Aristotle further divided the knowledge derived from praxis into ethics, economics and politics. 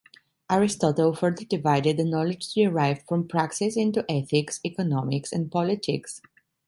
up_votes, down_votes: 2, 0